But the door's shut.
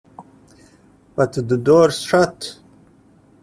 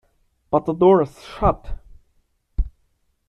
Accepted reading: second